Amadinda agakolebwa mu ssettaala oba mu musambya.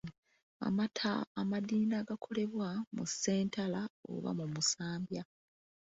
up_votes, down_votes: 0, 2